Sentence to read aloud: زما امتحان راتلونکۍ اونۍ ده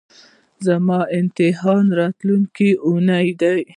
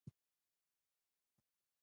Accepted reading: first